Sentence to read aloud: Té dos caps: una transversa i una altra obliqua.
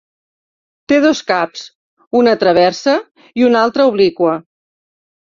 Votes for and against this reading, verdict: 1, 2, rejected